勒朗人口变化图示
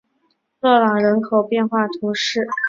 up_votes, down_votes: 2, 0